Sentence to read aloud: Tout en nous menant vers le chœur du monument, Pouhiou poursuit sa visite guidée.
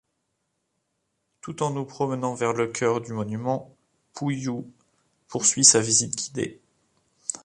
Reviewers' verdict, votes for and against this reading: rejected, 0, 2